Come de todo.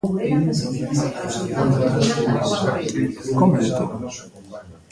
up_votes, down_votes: 0, 2